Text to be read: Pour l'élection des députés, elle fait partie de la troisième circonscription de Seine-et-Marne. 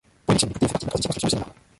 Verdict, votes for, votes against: rejected, 0, 2